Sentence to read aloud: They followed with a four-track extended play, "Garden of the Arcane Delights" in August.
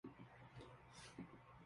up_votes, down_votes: 0, 2